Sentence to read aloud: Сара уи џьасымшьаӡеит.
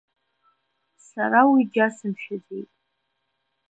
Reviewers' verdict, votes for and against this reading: rejected, 1, 2